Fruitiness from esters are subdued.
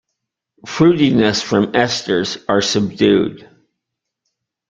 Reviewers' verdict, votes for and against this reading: accepted, 2, 0